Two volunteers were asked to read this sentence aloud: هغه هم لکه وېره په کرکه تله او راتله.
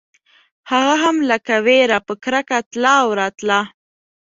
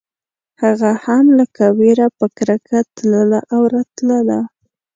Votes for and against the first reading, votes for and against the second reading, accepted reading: 2, 0, 1, 2, first